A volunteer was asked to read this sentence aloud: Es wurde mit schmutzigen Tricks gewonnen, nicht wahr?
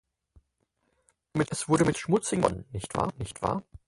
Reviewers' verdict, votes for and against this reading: rejected, 0, 4